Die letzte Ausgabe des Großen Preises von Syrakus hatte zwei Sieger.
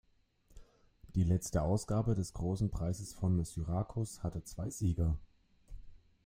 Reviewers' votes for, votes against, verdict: 1, 2, rejected